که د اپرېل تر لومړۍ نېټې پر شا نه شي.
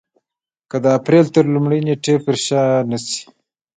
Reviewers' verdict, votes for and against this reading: accepted, 2, 0